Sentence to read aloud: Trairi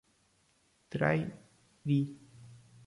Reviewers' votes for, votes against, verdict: 0, 2, rejected